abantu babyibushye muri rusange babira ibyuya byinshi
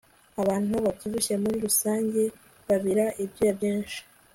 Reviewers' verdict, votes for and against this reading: accepted, 3, 0